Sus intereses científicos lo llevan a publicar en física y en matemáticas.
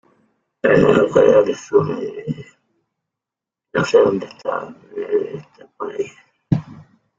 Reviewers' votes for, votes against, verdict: 0, 2, rejected